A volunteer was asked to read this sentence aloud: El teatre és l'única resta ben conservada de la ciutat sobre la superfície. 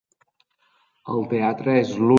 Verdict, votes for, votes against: rejected, 0, 2